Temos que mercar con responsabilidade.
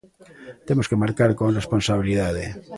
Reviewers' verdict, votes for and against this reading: rejected, 0, 2